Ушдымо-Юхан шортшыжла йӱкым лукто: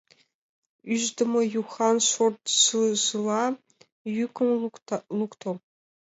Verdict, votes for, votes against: rejected, 0, 2